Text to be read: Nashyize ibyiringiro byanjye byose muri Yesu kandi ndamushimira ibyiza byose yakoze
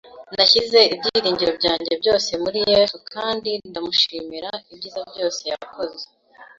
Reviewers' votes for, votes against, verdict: 2, 0, accepted